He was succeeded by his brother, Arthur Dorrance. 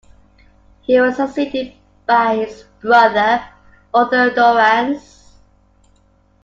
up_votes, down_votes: 2, 0